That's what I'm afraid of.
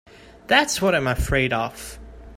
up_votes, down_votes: 2, 1